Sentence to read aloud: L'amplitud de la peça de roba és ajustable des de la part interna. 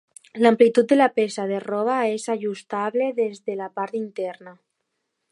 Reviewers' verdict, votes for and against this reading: accepted, 3, 0